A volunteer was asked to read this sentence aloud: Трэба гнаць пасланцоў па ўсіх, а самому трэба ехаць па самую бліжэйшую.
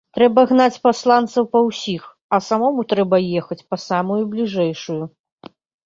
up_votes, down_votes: 2, 1